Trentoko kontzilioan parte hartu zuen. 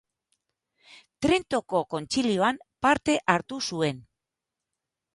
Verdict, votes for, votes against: rejected, 0, 2